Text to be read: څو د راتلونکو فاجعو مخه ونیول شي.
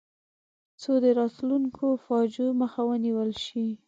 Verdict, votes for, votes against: accepted, 2, 0